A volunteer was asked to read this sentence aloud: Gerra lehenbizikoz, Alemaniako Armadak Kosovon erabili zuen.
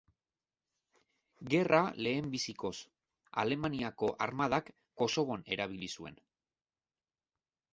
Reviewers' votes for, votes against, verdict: 2, 0, accepted